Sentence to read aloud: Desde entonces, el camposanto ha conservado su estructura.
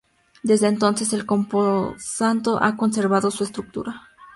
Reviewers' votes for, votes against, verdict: 0, 2, rejected